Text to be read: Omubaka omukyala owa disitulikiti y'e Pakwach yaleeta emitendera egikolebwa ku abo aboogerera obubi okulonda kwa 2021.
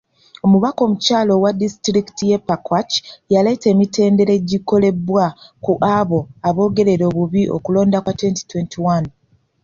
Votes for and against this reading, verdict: 0, 2, rejected